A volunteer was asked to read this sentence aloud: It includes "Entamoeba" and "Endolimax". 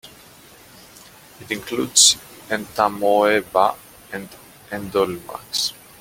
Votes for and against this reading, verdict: 2, 0, accepted